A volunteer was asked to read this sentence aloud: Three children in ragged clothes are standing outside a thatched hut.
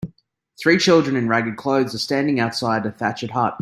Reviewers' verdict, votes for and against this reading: accepted, 2, 0